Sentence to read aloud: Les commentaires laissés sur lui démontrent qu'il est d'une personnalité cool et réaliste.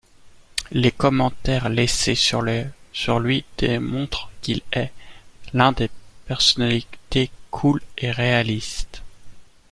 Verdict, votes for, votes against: rejected, 0, 2